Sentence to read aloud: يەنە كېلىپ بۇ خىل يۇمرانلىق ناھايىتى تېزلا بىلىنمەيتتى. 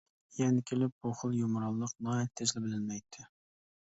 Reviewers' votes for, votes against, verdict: 2, 0, accepted